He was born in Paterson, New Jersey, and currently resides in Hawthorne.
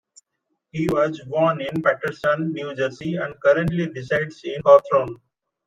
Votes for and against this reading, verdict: 2, 0, accepted